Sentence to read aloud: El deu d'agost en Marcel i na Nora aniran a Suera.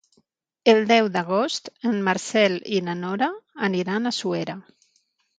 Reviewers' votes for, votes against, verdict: 3, 3, rejected